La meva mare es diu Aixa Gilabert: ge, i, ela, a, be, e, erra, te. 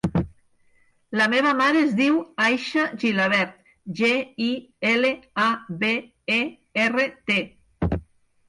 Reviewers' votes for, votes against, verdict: 2, 4, rejected